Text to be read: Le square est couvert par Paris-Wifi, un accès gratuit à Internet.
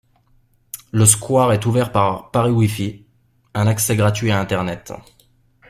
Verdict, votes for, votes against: rejected, 0, 2